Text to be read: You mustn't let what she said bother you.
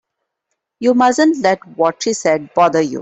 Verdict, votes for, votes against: accepted, 2, 0